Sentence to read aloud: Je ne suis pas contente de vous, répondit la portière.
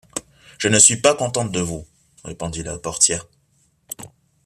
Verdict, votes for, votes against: accepted, 2, 0